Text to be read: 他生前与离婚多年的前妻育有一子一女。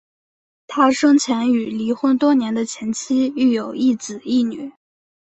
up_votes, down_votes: 2, 0